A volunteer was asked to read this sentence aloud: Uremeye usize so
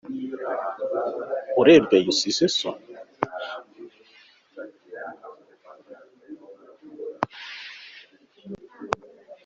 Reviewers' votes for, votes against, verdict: 2, 1, accepted